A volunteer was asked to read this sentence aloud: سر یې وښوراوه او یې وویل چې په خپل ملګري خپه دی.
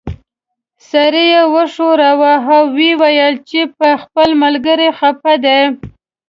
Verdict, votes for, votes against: accepted, 2, 0